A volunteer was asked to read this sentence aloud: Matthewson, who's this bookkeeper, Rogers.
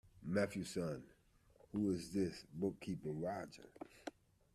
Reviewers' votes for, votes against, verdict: 1, 2, rejected